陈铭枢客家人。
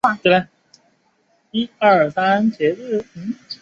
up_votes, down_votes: 0, 3